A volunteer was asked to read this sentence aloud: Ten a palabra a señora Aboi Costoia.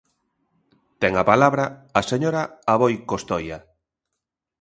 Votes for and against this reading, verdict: 2, 0, accepted